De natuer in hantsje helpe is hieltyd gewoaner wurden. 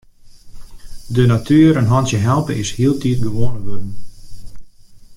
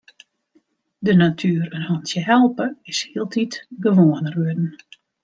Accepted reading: second